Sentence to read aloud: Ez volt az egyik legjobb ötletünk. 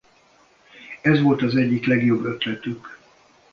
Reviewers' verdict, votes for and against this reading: rejected, 0, 2